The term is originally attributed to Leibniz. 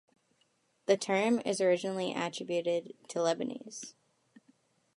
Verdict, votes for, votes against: accepted, 2, 0